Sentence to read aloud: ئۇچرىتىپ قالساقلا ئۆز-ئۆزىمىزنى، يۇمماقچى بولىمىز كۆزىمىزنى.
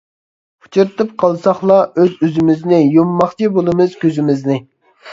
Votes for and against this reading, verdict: 2, 0, accepted